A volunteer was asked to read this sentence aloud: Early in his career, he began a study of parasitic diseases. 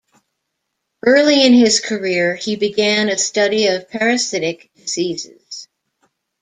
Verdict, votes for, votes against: rejected, 1, 2